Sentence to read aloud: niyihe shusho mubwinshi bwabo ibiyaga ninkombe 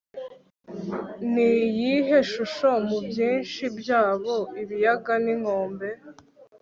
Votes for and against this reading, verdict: 0, 2, rejected